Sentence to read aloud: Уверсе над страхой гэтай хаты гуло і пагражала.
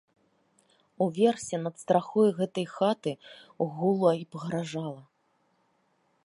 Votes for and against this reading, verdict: 1, 2, rejected